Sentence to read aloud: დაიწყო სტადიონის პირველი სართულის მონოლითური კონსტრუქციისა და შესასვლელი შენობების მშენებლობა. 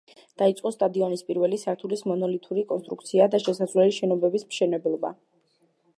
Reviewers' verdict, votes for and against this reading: accepted, 2, 0